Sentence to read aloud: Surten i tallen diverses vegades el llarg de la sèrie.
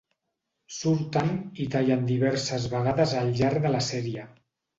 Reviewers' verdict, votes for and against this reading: accepted, 2, 0